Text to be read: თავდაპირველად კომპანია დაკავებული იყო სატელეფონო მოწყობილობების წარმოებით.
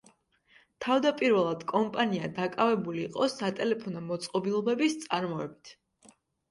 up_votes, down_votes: 2, 0